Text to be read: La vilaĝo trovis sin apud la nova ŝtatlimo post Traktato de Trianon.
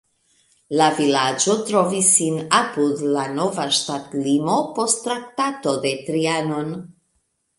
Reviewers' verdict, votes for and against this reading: accepted, 2, 0